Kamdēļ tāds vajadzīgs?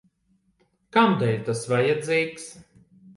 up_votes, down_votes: 0, 2